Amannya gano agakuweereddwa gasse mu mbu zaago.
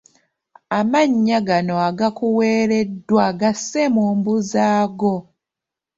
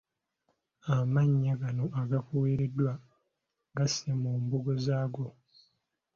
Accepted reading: first